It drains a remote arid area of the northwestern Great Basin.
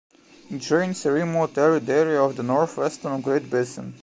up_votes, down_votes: 2, 1